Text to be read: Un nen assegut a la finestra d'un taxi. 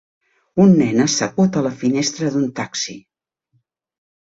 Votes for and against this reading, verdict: 3, 0, accepted